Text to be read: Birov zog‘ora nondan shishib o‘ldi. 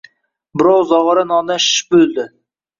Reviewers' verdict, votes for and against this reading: rejected, 1, 2